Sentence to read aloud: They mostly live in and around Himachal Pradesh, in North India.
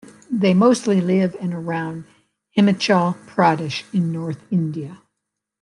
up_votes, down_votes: 0, 3